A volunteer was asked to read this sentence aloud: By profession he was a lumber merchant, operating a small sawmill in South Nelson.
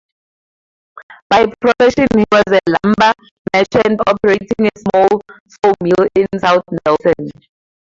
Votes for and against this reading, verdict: 2, 2, rejected